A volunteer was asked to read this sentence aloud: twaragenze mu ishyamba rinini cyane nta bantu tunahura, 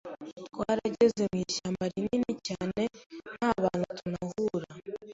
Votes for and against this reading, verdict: 2, 0, accepted